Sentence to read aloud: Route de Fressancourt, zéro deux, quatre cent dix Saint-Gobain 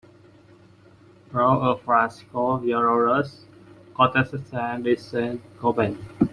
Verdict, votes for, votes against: rejected, 0, 2